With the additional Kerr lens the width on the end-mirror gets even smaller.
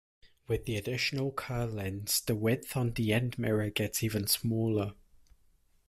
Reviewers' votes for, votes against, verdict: 2, 0, accepted